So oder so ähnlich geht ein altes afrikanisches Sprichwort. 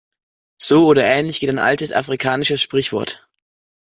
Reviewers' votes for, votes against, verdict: 2, 0, accepted